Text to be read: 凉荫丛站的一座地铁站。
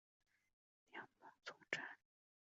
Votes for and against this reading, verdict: 5, 2, accepted